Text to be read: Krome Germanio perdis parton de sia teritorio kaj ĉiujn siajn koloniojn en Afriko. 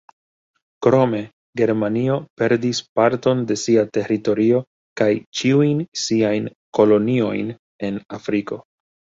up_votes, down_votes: 2, 0